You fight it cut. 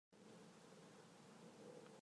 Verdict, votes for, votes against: rejected, 2, 5